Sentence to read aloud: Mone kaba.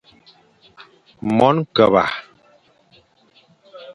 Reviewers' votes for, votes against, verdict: 0, 2, rejected